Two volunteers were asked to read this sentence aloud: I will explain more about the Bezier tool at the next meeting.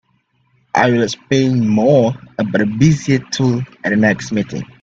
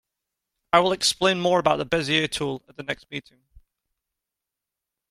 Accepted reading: second